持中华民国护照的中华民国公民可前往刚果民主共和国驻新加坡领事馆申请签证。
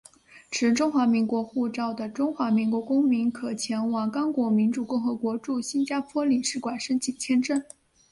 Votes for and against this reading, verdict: 4, 0, accepted